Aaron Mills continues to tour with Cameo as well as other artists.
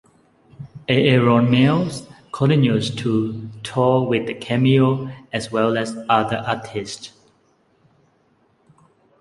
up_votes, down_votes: 0, 2